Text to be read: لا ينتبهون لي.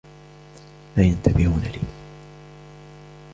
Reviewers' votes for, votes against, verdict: 2, 0, accepted